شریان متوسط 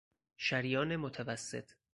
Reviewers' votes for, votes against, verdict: 4, 2, accepted